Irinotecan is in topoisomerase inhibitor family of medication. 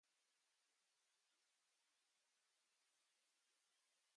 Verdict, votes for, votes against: rejected, 0, 2